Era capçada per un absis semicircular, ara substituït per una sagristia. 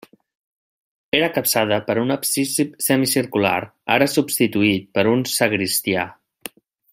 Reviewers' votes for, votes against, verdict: 1, 2, rejected